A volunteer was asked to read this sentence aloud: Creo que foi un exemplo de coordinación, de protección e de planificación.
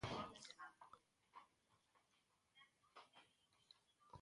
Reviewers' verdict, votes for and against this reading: rejected, 0, 2